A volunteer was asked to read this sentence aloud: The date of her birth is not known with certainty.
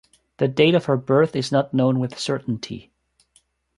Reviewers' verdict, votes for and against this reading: accepted, 2, 0